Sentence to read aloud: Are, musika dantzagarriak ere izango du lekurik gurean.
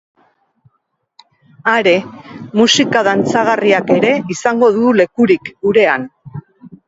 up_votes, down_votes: 3, 0